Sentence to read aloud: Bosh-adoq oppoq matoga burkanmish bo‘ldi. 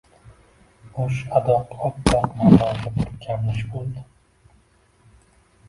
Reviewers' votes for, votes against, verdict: 0, 2, rejected